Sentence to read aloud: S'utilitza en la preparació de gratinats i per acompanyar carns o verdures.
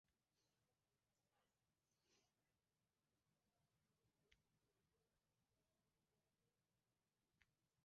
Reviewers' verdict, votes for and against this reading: rejected, 0, 2